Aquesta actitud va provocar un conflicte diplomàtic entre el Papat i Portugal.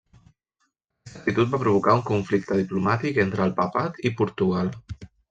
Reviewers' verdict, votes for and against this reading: rejected, 0, 2